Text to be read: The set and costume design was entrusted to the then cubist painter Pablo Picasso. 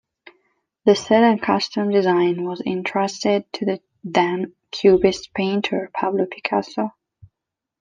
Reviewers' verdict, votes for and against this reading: rejected, 1, 2